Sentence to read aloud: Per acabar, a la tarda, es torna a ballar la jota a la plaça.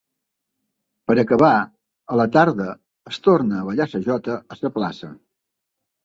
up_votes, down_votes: 0, 2